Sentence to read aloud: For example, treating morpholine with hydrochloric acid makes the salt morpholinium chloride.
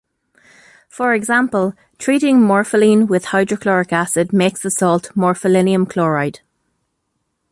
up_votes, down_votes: 2, 0